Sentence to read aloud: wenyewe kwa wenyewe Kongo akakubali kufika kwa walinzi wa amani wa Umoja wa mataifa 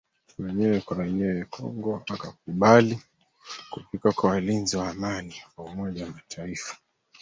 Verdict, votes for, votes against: rejected, 2, 3